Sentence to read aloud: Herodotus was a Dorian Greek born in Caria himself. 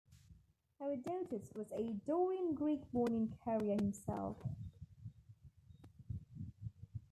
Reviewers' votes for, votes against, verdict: 2, 1, accepted